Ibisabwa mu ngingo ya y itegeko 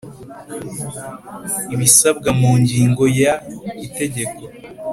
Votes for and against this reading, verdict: 4, 0, accepted